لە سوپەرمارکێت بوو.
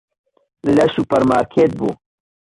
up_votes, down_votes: 1, 2